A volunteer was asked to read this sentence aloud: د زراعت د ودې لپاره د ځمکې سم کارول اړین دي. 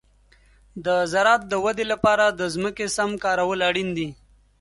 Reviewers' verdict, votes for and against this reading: accepted, 2, 0